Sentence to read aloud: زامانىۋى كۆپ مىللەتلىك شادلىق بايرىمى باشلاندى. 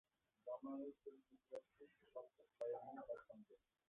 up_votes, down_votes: 0, 2